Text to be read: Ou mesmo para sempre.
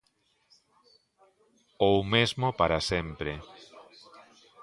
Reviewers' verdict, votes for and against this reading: accepted, 2, 0